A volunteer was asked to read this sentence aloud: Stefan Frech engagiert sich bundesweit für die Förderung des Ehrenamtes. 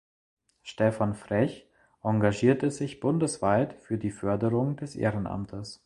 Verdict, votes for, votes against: rejected, 0, 2